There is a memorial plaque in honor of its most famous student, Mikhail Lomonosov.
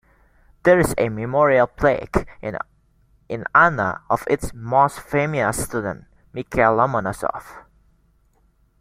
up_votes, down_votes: 0, 2